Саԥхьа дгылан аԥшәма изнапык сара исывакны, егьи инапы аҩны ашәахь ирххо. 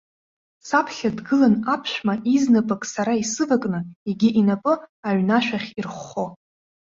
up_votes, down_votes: 2, 0